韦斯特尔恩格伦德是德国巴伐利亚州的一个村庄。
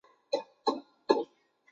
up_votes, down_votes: 0, 3